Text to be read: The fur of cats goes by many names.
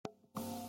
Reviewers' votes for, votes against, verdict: 0, 2, rejected